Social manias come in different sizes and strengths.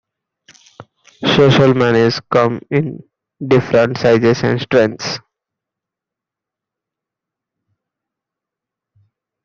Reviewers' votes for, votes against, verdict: 2, 0, accepted